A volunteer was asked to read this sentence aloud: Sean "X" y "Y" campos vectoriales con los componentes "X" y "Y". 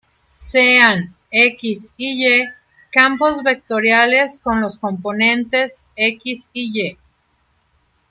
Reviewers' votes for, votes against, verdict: 0, 2, rejected